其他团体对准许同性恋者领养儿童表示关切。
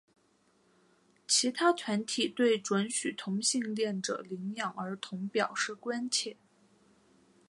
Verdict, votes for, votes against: accepted, 2, 1